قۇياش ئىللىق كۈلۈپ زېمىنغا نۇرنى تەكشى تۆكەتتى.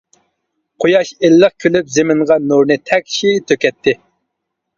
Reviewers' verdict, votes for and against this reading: accepted, 2, 0